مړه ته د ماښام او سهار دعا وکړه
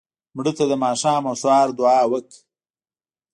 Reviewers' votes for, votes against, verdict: 0, 2, rejected